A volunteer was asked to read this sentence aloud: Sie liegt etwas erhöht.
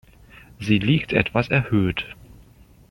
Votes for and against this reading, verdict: 2, 0, accepted